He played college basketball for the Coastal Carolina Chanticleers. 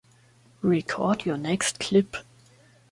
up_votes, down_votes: 0, 2